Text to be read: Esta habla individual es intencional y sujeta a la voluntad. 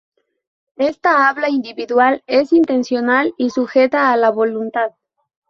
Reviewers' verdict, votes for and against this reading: accepted, 2, 0